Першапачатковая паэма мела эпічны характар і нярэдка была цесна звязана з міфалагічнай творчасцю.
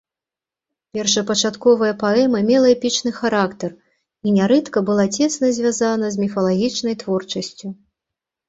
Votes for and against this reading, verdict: 2, 0, accepted